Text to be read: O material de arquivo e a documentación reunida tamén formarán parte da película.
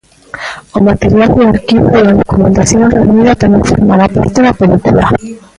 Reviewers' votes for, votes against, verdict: 0, 2, rejected